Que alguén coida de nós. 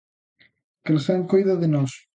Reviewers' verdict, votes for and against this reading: rejected, 0, 2